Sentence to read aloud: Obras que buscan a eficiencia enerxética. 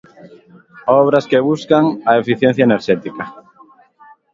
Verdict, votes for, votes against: accepted, 2, 0